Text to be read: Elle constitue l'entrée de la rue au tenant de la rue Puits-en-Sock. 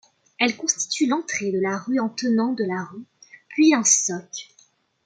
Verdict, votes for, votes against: rejected, 0, 2